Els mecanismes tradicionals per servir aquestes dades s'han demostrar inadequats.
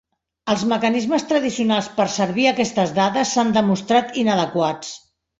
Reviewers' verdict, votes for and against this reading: rejected, 1, 2